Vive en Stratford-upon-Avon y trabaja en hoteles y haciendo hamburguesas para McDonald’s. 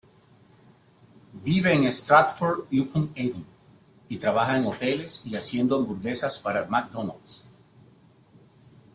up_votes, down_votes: 1, 2